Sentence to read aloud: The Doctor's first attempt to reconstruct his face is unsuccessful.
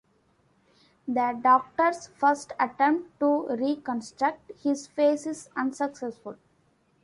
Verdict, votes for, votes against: accepted, 2, 1